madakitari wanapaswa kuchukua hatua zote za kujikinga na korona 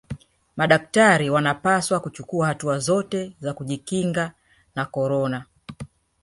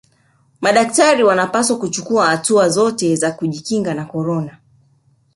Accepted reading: second